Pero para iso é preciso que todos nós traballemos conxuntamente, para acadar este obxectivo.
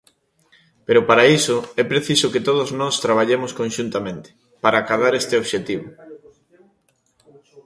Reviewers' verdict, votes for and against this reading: accepted, 2, 0